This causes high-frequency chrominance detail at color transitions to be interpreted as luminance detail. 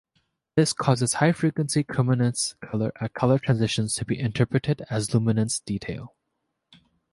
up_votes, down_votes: 1, 2